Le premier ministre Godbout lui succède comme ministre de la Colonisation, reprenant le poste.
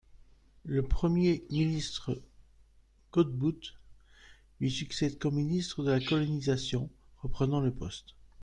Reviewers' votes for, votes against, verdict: 1, 2, rejected